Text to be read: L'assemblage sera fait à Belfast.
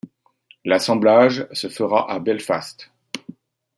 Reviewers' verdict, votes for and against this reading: rejected, 0, 2